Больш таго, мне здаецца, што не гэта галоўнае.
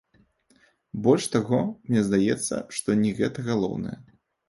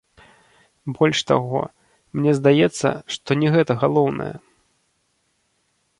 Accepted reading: first